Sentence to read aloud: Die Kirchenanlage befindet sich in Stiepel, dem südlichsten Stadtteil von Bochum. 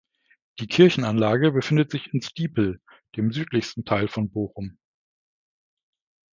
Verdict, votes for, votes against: rejected, 0, 2